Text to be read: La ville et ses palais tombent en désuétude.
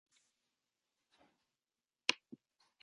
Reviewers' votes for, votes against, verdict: 0, 2, rejected